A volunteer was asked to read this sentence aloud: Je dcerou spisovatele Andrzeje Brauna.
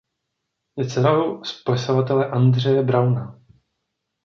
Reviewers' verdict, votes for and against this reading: rejected, 0, 2